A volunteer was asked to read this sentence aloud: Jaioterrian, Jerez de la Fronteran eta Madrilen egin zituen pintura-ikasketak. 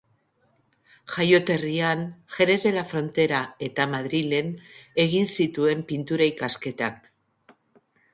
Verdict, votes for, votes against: rejected, 3, 4